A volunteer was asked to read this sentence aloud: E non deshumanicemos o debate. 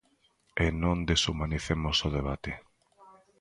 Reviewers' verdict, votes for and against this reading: accepted, 2, 0